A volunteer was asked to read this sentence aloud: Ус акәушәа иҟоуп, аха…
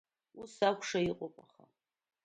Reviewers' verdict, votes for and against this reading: accepted, 2, 1